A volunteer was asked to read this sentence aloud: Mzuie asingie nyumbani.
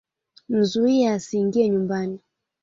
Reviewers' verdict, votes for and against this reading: accepted, 2, 0